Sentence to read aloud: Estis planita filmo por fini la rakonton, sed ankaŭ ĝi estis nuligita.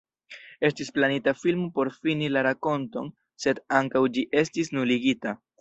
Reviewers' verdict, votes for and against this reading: rejected, 0, 2